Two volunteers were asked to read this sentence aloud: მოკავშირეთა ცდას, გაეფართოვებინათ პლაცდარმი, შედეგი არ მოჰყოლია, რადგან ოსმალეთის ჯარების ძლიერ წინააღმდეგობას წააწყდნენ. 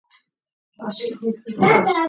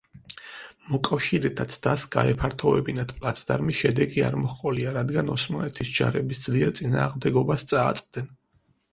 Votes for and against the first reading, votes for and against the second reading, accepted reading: 0, 2, 4, 0, second